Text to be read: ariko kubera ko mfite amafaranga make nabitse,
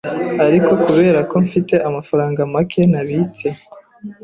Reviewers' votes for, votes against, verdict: 2, 0, accepted